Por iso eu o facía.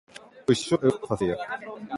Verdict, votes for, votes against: rejected, 0, 2